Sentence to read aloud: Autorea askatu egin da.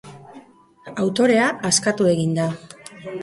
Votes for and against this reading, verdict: 2, 0, accepted